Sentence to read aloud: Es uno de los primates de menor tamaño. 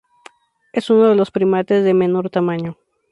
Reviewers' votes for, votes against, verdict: 2, 0, accepted